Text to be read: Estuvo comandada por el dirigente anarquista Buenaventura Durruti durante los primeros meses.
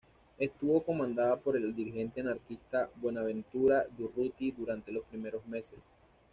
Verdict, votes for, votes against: accepted, 2, 1